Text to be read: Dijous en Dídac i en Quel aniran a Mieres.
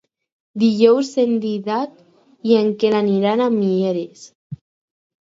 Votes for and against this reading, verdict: 4, 0, accepted